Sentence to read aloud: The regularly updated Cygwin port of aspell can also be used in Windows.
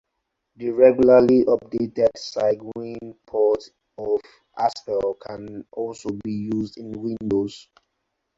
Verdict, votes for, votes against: accepted, 4, 0